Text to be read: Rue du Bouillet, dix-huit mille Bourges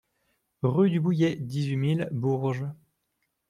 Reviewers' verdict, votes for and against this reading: accepted, 2, 0